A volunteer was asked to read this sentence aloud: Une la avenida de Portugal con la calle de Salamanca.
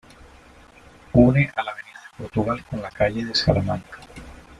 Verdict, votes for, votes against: accepted, 2, 1